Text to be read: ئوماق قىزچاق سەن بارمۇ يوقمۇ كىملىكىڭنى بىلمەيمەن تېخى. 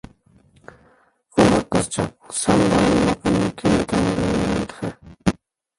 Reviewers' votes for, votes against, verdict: 0, 2, rejected